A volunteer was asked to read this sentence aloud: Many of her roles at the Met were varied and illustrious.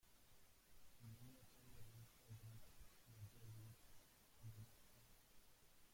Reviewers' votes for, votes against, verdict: 0, 2, rejected